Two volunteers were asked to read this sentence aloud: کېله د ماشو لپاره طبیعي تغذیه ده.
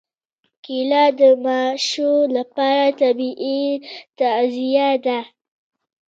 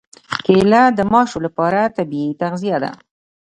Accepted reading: second